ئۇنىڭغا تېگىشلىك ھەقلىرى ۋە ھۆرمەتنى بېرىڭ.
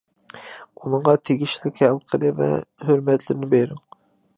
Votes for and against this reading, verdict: 0, 2, rejected